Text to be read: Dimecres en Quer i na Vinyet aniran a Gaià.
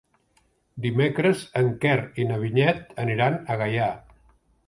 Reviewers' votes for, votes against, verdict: 3, 0, accepted